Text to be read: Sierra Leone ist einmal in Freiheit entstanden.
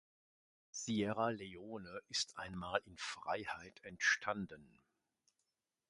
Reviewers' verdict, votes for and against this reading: accepted, 3, 0